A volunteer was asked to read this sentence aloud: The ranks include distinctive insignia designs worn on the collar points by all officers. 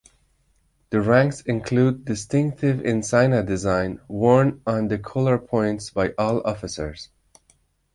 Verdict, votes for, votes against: rejected, 0, 2